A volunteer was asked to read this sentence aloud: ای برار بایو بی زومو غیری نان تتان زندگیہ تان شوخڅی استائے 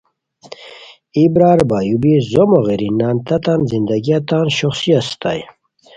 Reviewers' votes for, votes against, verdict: 2, 0, accepted